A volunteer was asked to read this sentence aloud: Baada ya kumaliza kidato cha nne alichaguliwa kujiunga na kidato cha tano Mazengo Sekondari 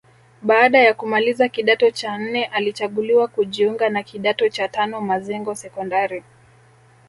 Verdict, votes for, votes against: accepted, 2, 0